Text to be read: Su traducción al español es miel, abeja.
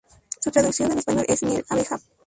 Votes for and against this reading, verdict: 0, 2, rejected